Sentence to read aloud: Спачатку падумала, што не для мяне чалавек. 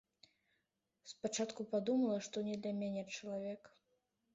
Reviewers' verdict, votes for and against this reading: accepted, 2, 0